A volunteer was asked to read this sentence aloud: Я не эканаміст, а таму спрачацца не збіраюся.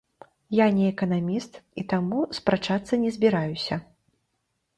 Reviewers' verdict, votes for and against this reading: rejected, 1, 2